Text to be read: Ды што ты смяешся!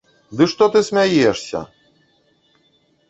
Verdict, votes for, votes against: rejected, 0, 2